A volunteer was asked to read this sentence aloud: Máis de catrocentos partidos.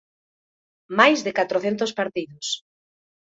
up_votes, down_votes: 2, 0